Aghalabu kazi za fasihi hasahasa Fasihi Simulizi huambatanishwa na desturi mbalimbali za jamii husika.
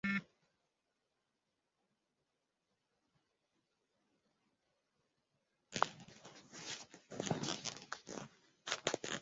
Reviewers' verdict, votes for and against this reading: rejected, 0, 2